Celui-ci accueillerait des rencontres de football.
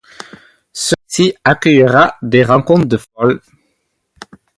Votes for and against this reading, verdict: 0, 2, rejected